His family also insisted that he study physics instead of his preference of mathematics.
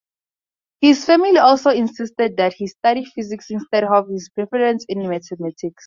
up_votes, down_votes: 0, 4